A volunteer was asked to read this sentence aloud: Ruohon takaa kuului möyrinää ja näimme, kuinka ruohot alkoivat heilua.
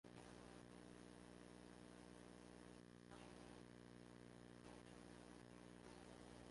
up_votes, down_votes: 0, 2